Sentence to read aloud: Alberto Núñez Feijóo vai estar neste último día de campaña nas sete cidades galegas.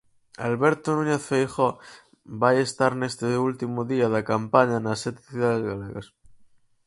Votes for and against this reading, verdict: 2, 2, rejected